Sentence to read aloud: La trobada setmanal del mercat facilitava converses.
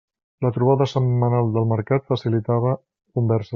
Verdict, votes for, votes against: rejected, 0, 2